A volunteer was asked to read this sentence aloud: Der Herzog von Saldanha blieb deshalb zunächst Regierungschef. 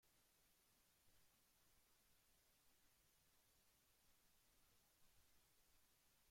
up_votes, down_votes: 0, 2